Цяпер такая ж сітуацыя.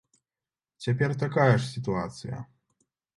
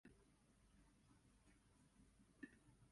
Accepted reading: first